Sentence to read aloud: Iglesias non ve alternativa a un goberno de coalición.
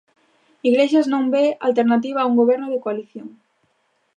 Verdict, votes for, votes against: accepted, 3, 0